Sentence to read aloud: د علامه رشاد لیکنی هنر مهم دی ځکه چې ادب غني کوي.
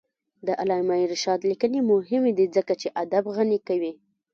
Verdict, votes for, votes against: rejected, 1, 2